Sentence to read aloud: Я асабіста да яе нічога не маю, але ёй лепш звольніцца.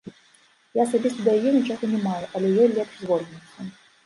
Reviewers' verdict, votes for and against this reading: rejected, 1, 2